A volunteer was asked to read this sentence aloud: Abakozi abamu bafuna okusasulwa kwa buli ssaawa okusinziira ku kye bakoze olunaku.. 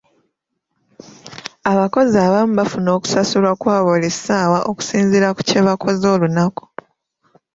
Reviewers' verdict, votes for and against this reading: accepted, 2, 0